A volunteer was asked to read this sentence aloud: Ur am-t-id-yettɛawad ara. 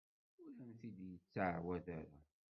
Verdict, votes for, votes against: rejected, 1, 2